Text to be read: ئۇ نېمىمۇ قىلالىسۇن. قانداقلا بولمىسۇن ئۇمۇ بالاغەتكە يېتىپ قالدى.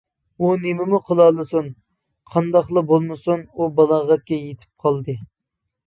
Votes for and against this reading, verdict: 1, 2, rejected